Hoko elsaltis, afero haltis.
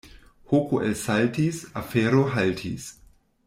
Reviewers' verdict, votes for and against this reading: accepted, 2, 1